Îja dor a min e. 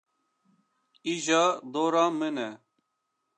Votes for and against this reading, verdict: 2, 0, accepted